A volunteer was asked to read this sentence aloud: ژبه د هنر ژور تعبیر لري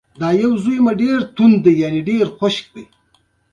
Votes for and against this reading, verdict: 2, 0, accepted